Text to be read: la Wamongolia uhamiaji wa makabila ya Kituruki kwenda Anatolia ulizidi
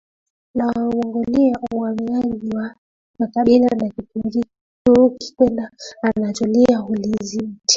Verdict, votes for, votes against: rejected, 0, 2